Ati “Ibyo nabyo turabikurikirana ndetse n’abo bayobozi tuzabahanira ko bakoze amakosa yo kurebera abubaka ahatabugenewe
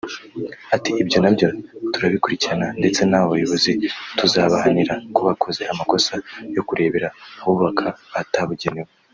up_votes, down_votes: 0, 2